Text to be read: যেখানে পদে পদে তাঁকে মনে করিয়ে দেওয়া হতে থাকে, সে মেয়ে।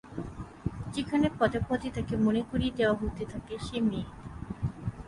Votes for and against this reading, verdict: 3, 0, accepted